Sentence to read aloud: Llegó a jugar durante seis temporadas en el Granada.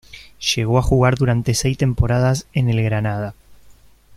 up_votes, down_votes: 2, 0